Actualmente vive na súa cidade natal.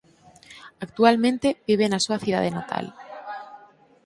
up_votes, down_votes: 6, 0